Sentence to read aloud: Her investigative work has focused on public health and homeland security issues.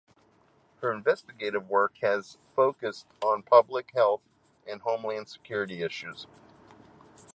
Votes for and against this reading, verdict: 2, 0, accepted